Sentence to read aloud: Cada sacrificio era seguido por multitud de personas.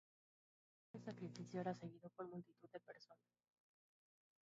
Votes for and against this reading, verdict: 0, 2, rejected